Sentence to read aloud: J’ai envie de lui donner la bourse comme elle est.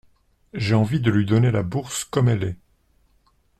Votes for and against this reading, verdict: 2, 0, accepted